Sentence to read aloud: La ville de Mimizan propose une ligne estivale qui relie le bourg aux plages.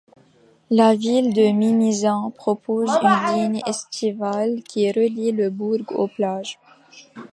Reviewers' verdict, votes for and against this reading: rejected, 0, 2